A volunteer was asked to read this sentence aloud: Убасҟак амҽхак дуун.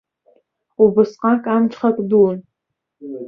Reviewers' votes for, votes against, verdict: 2, 0, accepted